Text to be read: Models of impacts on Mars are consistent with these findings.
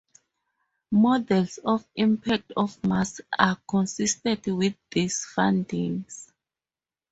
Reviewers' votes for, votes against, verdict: 6, 8, rejected